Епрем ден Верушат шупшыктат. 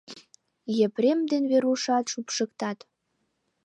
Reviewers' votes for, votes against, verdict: 2, 0, accepted